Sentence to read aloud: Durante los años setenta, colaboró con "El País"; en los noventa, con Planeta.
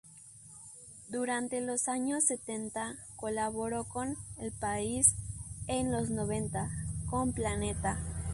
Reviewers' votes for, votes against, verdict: 0, 2, rejected